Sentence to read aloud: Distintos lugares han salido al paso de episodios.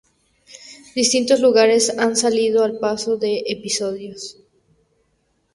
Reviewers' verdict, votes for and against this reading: accepted, 2, 0